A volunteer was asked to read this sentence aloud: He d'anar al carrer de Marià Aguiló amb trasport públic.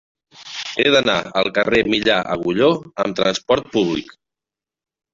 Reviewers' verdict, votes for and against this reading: rejected, 0, 3